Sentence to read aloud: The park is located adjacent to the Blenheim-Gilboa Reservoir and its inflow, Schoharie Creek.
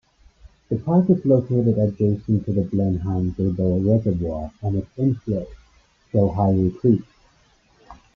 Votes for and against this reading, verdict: 1, 2, rejected